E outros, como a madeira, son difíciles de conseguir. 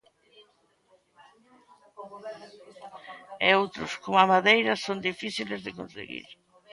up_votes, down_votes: 2, 1